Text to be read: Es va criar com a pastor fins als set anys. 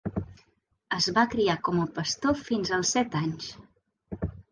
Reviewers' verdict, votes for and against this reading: accepted, 3, 0